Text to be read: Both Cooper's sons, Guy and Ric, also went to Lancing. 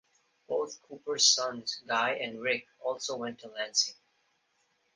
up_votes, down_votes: 2, 1